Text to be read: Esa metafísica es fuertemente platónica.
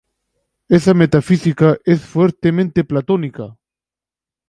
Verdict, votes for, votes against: accepted, 4, 0